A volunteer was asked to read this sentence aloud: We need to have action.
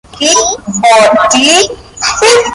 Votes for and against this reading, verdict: 0, 2, rejected